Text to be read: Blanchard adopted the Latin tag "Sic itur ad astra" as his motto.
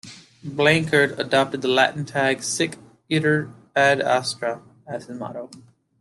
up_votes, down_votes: 2, 1